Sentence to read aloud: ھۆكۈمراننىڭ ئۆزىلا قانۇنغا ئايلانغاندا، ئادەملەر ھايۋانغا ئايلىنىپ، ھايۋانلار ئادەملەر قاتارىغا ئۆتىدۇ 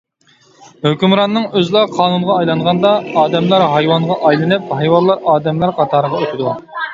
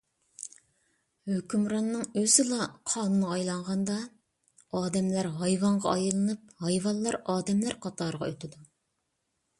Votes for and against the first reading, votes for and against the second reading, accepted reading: 1, 2, 2, 0, second